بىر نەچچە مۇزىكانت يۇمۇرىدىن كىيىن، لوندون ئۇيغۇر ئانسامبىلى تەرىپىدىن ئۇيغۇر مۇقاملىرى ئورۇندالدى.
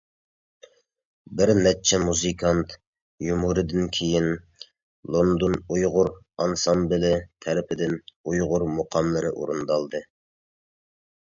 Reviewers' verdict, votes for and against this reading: accepted, 2, 0